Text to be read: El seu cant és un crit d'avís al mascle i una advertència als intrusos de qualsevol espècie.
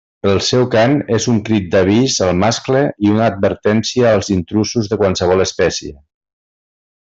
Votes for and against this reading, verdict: 2, 1, accepted